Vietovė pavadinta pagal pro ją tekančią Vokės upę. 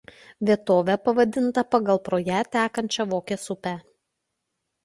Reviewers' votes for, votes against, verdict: 2, 0, accepted